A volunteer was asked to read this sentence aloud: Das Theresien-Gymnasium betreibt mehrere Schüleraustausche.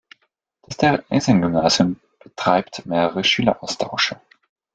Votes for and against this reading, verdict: 0, 2, rejected